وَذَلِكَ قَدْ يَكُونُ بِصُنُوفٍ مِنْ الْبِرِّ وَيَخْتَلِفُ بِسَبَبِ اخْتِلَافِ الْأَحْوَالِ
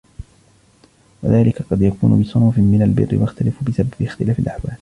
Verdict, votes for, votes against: accepted, 2, 1